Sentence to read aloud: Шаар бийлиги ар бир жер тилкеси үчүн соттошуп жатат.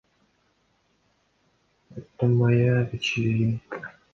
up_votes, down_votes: 0, 2